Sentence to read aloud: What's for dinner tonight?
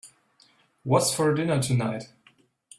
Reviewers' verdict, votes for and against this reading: accepted, 3, 0